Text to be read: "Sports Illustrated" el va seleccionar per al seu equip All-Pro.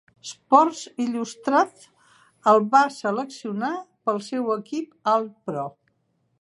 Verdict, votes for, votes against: accepted, 3, 2